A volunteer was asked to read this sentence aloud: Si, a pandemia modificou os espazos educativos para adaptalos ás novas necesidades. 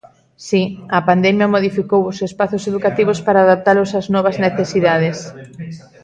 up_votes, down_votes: 0, 2